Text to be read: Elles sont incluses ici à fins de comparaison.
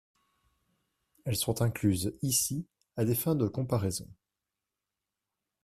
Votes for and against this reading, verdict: 1, 2, rejected